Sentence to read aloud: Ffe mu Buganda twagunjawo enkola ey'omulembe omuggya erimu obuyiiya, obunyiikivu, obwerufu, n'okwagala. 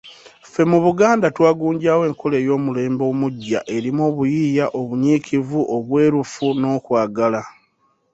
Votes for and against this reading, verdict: 3, 0, accepted